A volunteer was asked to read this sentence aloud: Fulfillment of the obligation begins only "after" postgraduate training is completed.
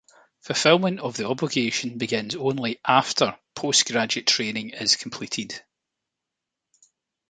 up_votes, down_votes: 2, 0